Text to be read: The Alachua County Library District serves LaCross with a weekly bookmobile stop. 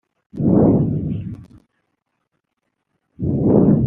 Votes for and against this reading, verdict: 0, 2, rejected